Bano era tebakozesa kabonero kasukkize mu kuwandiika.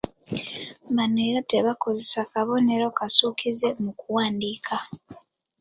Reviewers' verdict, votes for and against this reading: rejected, 1, 2